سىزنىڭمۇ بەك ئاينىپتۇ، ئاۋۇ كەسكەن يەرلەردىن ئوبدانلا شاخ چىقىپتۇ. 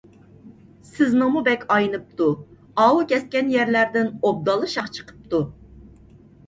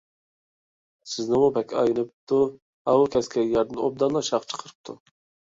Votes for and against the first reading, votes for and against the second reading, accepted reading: 2, 0, 0, 2, first